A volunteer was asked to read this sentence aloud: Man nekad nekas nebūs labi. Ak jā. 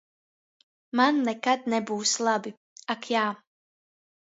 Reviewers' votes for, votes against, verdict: 0, 2, rejected